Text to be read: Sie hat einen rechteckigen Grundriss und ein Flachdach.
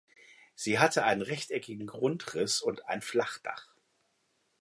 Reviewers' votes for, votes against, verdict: 1, 2, rejected